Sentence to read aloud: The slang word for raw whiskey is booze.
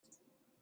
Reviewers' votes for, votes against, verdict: 1, 2, rejected